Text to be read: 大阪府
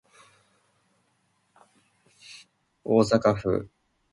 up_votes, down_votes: 1, 2